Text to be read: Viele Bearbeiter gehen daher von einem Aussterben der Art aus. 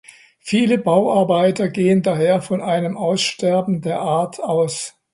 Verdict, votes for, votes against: rejected, 0, 2